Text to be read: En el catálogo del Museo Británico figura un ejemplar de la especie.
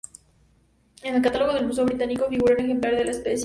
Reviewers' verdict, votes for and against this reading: rejected, 0, 2